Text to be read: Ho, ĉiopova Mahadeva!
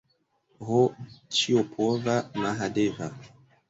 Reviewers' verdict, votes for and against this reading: accepted, 2, 1